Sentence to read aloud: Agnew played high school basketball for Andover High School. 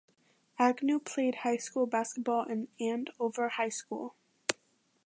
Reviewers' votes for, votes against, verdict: 0, 2, rejected